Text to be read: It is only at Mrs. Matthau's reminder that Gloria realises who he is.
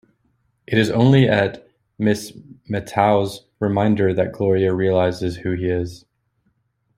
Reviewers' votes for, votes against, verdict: 1, 2, rejected